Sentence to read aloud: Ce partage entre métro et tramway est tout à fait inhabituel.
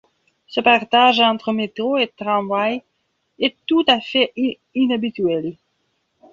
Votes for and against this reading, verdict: 0, 2, rejected